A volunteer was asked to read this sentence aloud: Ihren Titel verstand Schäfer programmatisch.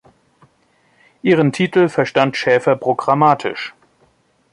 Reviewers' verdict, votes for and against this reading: accepted, 2, 0